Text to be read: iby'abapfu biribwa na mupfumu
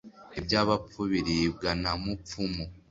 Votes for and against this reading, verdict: 2, 0, accepted